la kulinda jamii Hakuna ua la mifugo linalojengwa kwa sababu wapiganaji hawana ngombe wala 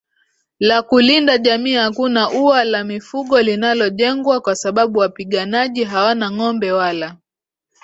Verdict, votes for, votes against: accepted, 2, 0